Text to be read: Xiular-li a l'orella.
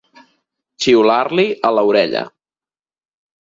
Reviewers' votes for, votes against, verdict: 0, 4, rejected